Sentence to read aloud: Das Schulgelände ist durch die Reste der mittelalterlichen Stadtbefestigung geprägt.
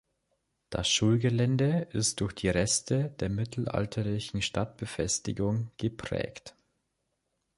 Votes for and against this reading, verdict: 2, 0, accepted